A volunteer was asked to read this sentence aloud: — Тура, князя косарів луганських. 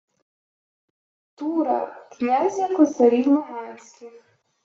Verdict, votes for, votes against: accepted, 2, 1